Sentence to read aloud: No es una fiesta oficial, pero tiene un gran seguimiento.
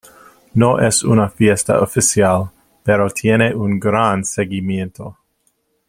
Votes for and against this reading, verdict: 2, 0, accepted